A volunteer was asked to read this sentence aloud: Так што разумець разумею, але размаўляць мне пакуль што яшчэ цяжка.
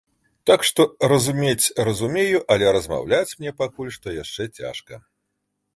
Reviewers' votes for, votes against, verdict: 2, 0, accepted